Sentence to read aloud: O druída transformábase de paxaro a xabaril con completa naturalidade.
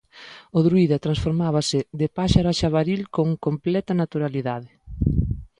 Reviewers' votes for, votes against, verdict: 0, 2, rejected